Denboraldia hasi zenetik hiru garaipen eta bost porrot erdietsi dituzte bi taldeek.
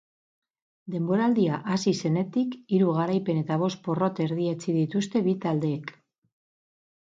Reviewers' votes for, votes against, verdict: 4, 0, accepted